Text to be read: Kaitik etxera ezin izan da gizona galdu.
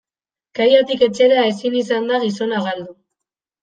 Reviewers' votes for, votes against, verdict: 0, 2, rejected